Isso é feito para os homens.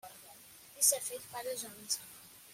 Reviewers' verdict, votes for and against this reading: rejected, 1, 2